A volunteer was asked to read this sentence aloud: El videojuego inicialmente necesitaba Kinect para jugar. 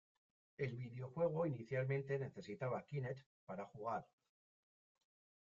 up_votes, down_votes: 0, 2